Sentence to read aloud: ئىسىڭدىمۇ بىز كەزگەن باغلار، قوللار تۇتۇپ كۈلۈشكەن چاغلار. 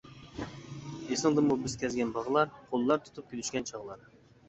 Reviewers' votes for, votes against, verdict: 2, 0, accepted